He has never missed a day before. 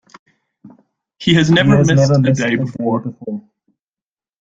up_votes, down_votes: 0, 2